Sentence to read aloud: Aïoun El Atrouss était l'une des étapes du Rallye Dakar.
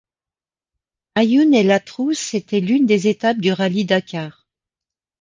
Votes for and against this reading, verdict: 2, 0, accepted